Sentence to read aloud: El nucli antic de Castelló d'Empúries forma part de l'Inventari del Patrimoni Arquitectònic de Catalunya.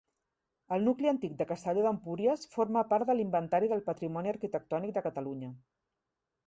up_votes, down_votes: 2, 0